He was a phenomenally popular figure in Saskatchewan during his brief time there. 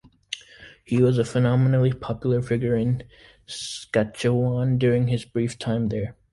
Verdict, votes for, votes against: rejected, 1, 2